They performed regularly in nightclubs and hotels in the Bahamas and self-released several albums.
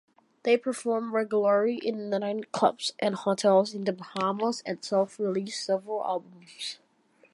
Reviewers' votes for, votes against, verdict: 0, 2, rejected